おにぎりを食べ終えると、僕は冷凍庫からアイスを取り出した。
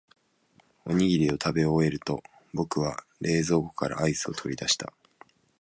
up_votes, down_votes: 2, 0